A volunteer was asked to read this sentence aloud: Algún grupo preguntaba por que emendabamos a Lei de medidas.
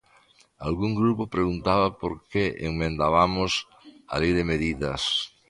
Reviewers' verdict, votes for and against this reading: accepted, 2, 0